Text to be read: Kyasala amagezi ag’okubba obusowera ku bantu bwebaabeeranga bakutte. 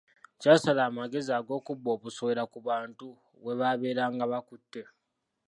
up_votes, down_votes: 2, 0